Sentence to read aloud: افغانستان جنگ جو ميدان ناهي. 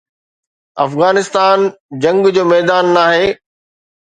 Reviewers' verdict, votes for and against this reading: accepted, 2, 0